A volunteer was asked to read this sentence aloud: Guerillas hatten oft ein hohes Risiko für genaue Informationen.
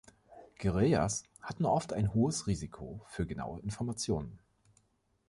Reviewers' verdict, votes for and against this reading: accepted, 2, 0